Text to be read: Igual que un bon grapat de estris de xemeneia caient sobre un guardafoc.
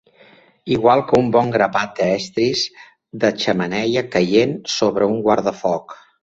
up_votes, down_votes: 2, 1